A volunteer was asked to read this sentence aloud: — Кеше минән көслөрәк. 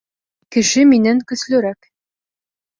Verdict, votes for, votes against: accepted, 2, 0